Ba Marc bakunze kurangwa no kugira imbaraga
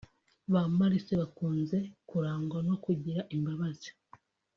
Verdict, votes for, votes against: rejected, 0, 2